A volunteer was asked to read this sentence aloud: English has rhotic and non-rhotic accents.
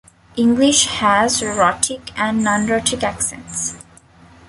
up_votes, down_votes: 2, 0